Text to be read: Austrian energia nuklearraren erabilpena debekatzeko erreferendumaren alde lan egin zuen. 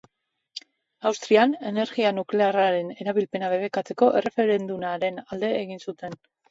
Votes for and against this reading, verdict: 0, 2, rejected